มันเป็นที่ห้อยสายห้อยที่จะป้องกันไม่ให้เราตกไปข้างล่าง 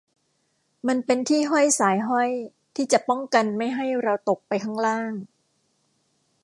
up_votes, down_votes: 2, 0